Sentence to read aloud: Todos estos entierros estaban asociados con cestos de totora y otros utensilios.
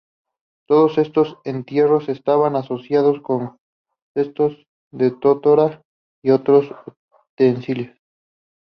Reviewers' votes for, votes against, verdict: 0, 2, rejected